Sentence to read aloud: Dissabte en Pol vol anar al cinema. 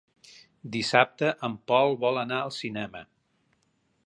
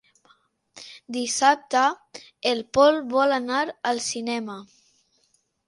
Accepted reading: first